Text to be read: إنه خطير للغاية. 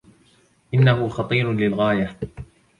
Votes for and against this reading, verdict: 2, 1, accepted